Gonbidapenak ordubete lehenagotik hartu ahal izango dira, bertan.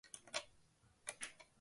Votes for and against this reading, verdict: 0, 2, rejected